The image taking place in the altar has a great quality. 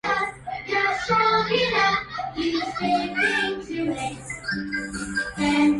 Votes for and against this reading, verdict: 0, 2, rejected